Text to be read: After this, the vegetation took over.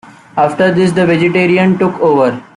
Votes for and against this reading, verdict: 0, 2, rejected